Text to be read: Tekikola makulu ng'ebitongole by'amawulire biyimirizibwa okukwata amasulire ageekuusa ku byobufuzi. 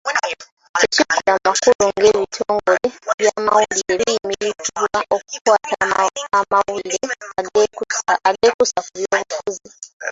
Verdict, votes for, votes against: rejected, 0, 2